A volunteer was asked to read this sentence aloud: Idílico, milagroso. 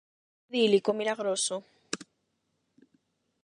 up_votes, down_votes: 4, 4